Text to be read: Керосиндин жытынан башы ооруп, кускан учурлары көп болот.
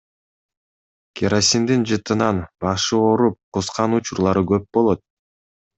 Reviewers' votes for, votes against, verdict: 2, 0, accepted